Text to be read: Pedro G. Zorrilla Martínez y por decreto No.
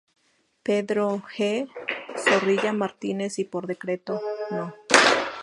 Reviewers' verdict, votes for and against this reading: accepted, 2, 0